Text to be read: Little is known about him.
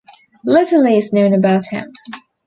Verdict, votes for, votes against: accepted, 2, 1